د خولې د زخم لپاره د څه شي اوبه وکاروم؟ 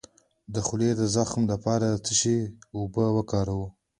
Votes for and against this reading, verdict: 2, 0, accepted